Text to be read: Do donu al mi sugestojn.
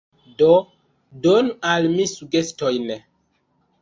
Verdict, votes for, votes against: rejected, 1, 2